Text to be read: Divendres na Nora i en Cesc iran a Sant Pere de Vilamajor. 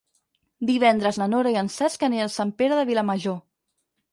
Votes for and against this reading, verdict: 2, 4, rejected